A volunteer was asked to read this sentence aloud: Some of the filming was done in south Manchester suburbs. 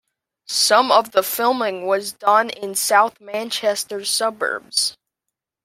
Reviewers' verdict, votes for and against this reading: accepted, 2, 1